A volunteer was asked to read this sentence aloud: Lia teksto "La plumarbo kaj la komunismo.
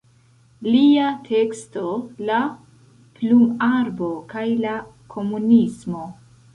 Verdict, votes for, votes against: rejected, 1, 2